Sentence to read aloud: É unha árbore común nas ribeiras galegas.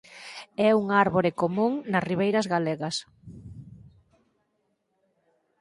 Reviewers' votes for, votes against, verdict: 4, 0, accepted